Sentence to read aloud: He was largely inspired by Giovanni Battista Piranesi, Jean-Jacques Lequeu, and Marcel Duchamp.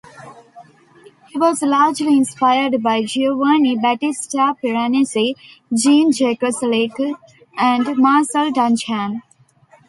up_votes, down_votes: 0, 2